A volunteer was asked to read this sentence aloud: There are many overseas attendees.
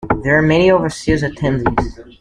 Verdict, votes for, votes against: accepted, 2, 0